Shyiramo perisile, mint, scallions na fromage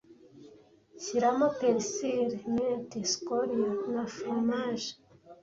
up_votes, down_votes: 2, 0